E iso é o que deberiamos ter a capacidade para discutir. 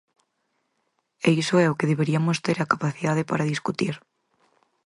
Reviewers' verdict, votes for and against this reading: accepted, 4, 2